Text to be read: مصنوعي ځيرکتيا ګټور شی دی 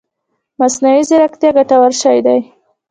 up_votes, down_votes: 0, 2